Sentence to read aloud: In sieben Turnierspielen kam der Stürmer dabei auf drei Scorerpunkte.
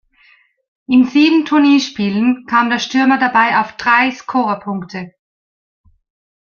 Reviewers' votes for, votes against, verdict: 1, 2, rejected